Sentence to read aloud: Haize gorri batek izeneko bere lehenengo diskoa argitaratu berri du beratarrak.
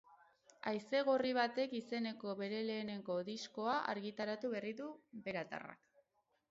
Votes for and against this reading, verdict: 4, 0, accepted